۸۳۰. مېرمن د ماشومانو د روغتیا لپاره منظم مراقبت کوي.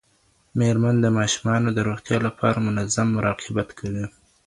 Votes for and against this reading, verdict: 0, 2, rejected